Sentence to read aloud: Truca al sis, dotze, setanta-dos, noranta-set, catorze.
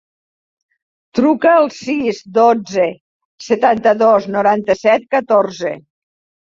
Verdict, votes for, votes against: accepted, 5, 0